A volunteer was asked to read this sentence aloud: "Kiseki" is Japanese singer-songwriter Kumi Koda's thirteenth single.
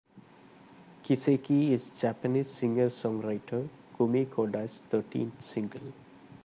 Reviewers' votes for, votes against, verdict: 2, 0, accepted